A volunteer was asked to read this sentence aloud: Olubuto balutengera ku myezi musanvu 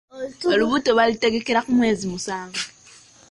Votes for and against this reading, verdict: 0, 2, rejected